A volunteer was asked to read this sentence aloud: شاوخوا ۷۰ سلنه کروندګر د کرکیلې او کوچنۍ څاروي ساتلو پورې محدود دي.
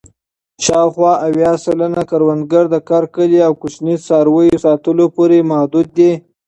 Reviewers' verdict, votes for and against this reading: rejected, 0, 2